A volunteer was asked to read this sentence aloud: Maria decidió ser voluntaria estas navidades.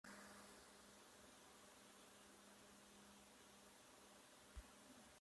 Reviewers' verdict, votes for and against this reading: rejected, 0, 3